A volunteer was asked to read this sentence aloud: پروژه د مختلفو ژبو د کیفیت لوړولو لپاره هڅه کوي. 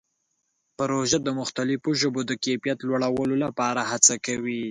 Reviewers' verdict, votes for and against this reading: accepted, 2, 0